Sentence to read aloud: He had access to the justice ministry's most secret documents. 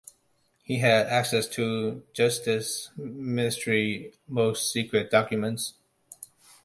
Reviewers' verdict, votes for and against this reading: rejected, 1, 2